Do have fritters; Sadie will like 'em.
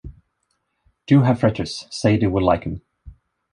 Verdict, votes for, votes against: accepted, 2, 0